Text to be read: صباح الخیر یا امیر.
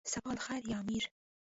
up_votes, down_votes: 0, 2